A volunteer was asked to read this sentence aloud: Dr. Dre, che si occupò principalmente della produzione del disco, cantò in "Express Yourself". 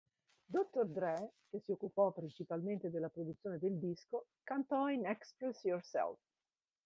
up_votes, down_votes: 1, 2